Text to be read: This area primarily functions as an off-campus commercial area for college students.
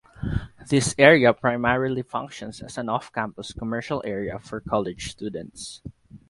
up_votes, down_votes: 6, 0